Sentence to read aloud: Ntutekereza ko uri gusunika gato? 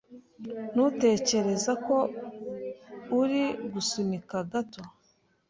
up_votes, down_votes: 2, 0